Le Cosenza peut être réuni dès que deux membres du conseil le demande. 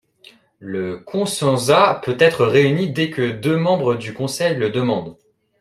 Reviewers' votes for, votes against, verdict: 2, 0, accepted